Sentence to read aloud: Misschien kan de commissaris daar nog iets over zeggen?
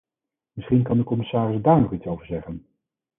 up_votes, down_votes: 2, 4